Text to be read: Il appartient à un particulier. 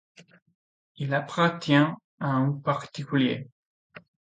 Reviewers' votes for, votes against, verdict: 2, 1, accepted